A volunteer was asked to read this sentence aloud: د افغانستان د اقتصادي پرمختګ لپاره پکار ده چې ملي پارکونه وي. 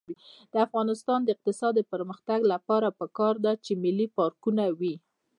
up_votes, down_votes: 2, 0